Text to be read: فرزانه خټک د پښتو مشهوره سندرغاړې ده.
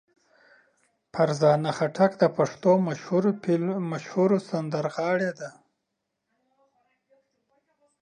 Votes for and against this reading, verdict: 1, 2, rejected